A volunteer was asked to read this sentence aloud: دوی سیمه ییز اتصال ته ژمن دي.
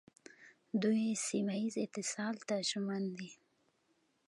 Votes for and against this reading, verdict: 2, 0, accepted